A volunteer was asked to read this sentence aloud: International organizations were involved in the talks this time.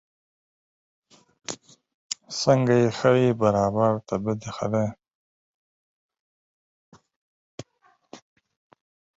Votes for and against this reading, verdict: 0, 4, rejected